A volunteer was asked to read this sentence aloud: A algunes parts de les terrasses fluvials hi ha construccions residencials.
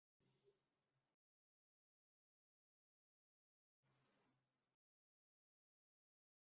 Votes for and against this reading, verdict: 0, 3, rejected